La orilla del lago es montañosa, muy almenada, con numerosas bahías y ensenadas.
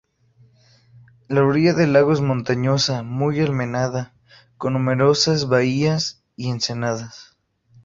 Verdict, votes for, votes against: accepted, 2, 0